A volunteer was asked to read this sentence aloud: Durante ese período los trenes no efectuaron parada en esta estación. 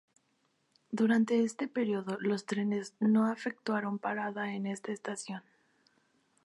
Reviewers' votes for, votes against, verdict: 0, 2, rejected